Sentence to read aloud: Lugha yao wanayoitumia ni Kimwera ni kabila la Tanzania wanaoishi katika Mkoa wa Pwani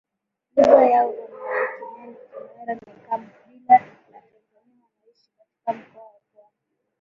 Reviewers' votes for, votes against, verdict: 1, 3, rejected